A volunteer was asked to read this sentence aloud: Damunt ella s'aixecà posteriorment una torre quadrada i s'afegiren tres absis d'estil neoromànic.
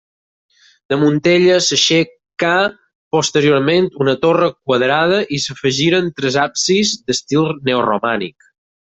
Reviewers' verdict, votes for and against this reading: accepted, 4, 2